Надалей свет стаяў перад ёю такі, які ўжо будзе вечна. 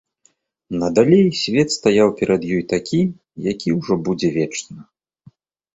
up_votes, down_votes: 2, 0